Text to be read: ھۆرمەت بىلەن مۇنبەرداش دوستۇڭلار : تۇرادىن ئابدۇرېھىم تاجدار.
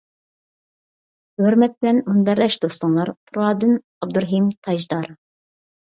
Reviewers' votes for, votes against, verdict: 2, 0, accepted